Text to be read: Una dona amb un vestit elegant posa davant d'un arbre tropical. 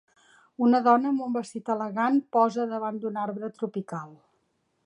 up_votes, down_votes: 3, 0